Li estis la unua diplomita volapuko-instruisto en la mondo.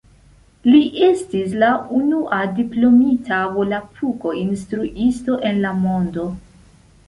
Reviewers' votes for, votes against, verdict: 2, 0, accepted